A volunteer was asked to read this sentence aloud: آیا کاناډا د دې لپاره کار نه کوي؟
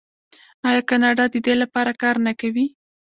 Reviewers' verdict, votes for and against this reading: rejected, 0, 2